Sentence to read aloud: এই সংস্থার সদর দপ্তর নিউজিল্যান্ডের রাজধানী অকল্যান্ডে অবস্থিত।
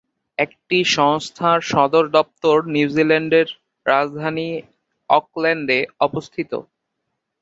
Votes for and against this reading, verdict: 3, 3, rejected